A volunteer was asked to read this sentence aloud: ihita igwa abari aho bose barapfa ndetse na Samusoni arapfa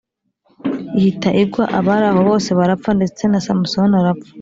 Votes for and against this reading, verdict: 3, 0, accepted